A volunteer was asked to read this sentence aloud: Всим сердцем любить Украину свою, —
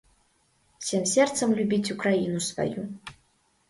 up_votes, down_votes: 0, 2